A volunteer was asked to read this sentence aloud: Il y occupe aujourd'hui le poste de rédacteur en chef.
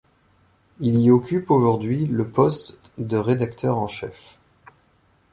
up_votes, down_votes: 2, 0